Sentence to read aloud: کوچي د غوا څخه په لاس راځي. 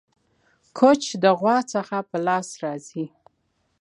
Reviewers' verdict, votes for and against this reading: rejected, 1, 2